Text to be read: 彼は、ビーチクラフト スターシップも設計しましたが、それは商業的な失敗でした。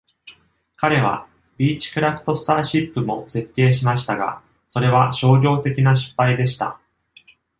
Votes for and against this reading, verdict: 2, 0, accepted